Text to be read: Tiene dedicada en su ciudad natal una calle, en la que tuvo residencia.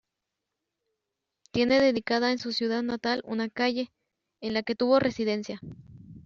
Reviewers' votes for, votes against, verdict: 2, 1, accepted